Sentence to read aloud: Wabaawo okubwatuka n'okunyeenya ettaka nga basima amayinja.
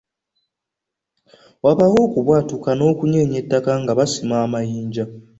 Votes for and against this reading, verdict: 2, 0, accepted